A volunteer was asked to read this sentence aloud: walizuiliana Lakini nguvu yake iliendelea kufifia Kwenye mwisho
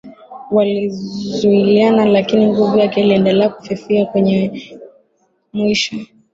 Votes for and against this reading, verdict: 2, 0, accepted